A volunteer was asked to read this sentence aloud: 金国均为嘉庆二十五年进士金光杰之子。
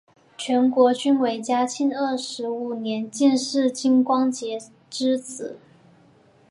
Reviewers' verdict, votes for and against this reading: accepted, 6, 0